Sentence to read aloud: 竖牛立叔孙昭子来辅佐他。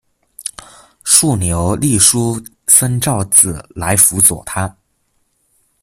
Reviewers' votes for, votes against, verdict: 1, 2, rejected